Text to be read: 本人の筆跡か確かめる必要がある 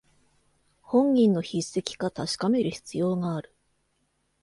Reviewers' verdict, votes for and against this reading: accepted, 2, 0